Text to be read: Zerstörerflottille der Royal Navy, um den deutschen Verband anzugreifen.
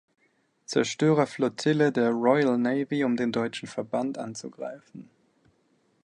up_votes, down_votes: 2, 0